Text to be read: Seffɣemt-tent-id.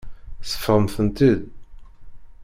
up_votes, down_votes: 1, 2